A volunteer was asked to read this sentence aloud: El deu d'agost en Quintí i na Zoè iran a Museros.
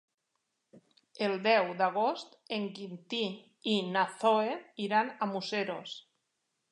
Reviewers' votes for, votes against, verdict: 2, 3, rejected